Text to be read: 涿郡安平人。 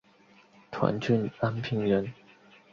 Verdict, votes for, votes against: accepted, 4, 2